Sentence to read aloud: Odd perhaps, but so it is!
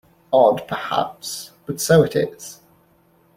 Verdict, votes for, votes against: accepted, 2, 0